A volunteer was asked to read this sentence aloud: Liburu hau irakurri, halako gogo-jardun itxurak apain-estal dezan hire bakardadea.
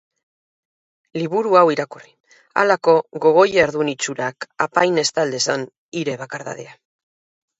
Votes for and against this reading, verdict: 2, 0, accepted